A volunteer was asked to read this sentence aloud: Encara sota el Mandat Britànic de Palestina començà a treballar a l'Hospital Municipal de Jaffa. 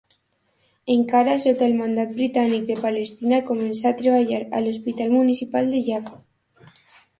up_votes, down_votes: 2, 0